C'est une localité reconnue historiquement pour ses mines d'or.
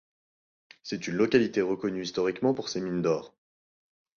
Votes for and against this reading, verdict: 2, 0, accepted